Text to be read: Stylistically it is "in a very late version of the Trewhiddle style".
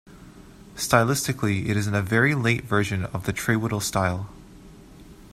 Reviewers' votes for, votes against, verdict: 2, 0, accepted